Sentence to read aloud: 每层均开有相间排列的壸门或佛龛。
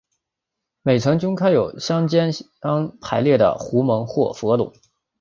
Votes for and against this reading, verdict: 1, 4, rejected